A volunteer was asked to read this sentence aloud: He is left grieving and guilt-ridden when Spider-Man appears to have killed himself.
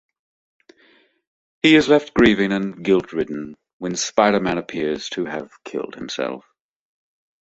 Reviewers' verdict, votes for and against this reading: accepted, 2, 0